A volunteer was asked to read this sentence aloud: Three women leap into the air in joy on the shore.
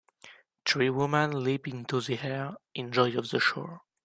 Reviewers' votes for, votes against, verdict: 0, 2, rejected